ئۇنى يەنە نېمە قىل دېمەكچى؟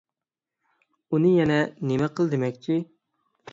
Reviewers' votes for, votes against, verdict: 6, 0, accepted